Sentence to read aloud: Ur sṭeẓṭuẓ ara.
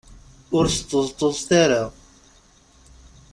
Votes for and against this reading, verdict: 1, 2, rejected